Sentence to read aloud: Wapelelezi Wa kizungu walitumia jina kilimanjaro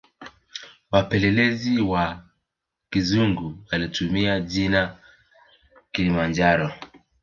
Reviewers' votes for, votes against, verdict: 0, 2, rejected